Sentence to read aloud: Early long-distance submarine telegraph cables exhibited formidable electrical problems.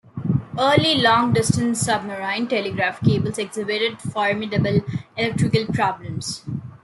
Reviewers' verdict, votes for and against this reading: rejected, 1, 2